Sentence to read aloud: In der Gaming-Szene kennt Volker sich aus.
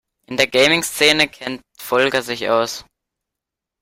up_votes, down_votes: 0, 3